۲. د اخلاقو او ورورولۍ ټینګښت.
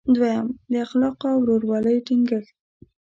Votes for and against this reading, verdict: 0, 2, rejected